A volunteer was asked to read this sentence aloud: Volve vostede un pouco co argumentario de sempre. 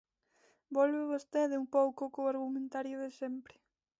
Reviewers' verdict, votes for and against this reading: accepted, 2, 1